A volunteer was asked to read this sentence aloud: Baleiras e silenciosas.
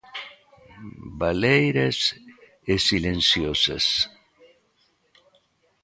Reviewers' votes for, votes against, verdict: 2, 0, accepted